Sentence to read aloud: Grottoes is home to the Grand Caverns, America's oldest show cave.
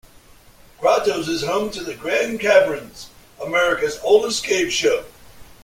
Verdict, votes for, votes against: rejected, 0, 2